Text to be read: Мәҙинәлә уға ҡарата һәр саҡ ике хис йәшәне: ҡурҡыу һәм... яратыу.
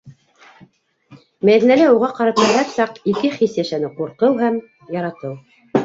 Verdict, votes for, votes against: rejected, 0, 2